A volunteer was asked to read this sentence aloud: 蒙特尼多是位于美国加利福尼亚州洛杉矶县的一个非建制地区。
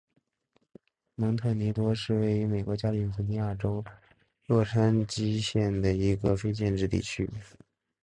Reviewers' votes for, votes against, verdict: 4, 0, accepted